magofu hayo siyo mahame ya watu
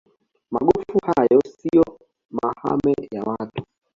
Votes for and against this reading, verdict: 1, 2, rejected